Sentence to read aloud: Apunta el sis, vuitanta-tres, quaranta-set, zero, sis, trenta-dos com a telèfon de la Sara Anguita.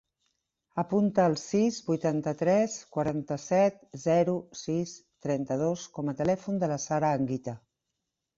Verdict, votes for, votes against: accepted, 3, 0